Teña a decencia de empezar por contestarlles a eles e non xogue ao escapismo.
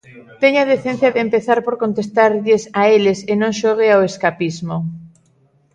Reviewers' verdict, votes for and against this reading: rejected, 1, 2